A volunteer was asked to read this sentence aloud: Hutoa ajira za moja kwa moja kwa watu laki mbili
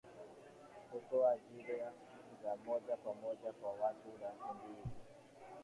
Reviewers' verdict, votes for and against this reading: rejected, 1, 3